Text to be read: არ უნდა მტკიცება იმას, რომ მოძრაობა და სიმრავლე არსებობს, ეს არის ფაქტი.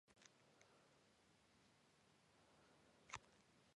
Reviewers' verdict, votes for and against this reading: rejected, 0, 3